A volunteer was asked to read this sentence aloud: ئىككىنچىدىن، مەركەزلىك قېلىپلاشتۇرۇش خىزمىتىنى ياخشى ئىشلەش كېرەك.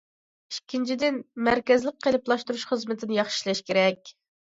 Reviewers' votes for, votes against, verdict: 2, 0, accepted